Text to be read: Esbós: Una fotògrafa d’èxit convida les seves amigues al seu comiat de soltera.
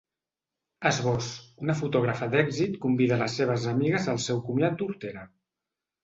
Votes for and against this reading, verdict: 0, 3, rejected